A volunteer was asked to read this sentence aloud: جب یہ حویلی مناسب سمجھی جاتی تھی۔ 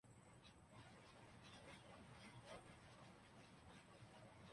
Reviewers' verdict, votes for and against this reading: rejected, 0, 2